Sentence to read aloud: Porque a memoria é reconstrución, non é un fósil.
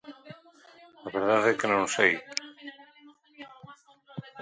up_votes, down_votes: 0, 2